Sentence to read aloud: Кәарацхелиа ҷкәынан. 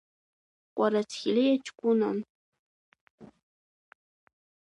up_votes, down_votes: 2, 1